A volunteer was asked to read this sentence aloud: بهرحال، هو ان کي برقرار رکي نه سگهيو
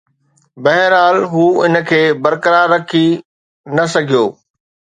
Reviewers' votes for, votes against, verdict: 2, 0, accepted